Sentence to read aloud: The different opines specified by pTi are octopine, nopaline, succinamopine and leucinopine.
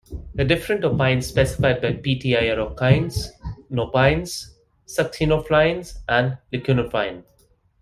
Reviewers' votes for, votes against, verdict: 0, 2, rejected